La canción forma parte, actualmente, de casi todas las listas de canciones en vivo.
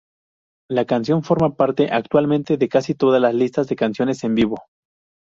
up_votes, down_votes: 0, 2